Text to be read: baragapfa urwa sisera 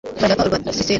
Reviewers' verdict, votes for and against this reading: rejected, 1, 2